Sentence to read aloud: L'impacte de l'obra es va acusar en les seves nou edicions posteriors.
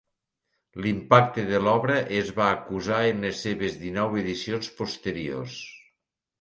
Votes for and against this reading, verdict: 0, 2, rejected